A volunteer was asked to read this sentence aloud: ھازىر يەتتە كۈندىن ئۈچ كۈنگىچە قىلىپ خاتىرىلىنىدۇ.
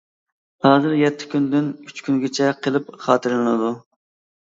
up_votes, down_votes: 2, 0